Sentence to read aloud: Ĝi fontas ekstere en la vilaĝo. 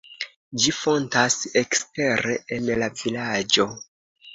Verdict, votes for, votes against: accepted, 2, 0